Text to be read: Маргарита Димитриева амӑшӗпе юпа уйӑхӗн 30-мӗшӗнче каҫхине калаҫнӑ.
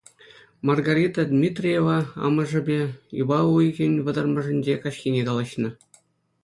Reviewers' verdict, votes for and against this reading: rejected, 0, 2